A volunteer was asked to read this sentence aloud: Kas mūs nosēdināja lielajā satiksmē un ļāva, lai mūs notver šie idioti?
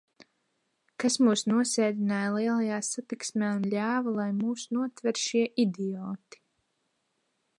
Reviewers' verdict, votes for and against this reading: accepted, 2, 1